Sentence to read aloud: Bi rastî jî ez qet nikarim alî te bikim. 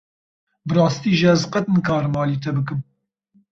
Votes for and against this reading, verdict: 2, 0, accepted